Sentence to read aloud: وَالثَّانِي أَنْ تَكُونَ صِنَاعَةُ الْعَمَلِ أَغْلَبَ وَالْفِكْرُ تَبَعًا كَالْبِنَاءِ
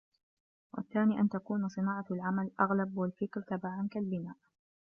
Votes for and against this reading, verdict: 1, 2, rejected